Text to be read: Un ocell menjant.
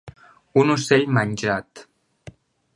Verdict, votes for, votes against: rejected, 0, 2